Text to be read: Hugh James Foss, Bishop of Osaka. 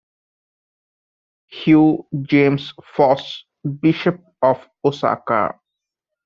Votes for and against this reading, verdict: 1, 2, rejected